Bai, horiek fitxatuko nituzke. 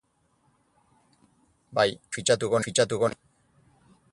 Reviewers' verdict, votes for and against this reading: rejected, 0, 8